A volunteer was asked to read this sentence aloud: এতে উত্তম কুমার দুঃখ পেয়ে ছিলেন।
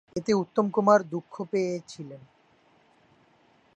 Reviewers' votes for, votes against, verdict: 2, 1, accepted